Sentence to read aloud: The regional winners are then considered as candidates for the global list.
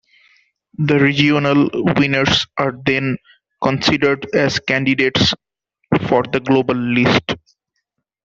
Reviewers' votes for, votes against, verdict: 0, 2, rejected